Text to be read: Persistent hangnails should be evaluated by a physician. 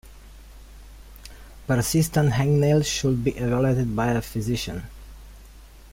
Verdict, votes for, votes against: rejected, 1, 2